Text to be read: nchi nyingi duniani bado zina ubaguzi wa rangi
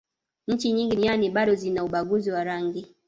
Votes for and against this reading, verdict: 2, 0, accepted